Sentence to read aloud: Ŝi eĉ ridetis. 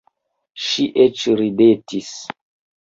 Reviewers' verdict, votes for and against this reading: accepted, 2, 0